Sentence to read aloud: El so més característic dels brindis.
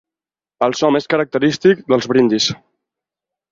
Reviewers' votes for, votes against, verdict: 6, 0, accepted